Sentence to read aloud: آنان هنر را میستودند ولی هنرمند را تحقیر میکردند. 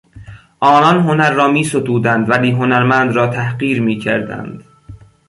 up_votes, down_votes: 2, 0